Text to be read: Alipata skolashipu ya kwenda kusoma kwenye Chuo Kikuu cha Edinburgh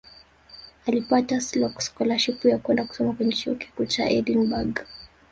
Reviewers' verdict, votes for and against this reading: rejected, 2, 3